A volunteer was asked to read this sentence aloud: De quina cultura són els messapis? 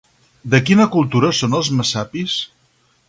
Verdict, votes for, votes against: accepted, 4, 0